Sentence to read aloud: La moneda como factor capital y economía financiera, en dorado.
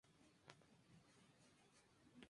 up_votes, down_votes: 0, 4